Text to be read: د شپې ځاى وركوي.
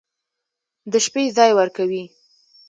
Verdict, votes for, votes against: accepted, 2, 1